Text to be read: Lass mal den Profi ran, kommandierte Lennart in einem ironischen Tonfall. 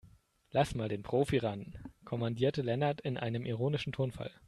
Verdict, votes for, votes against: accepted, 2, 0